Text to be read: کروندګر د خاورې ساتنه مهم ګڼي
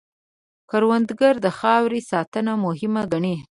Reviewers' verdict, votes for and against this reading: accepted, 2, 0